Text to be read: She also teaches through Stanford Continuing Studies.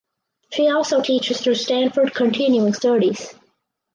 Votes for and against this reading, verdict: 4, 0, accepted